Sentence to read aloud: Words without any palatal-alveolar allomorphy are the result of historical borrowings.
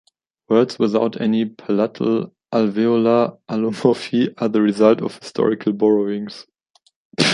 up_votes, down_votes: 0, 2